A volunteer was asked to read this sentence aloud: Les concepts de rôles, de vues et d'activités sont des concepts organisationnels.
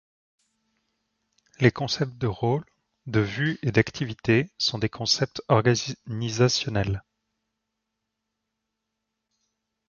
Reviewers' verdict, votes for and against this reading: rejected, 1, 2